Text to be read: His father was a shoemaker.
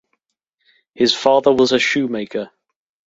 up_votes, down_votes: 2, 0